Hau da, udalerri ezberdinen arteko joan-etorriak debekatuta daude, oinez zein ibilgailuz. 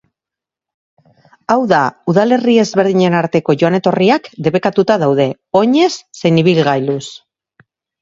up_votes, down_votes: 4, 0